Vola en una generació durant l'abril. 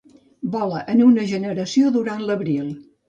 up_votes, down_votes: 2, 0